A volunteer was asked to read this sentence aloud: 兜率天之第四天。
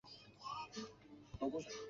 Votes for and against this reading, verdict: 0, 2, rejected